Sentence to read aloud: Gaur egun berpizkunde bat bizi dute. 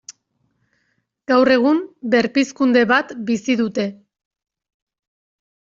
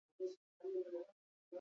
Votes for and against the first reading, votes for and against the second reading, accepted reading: 2, 0, 0, 4, first